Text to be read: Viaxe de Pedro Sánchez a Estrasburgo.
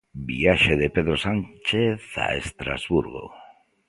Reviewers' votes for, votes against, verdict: 2, 0, accepted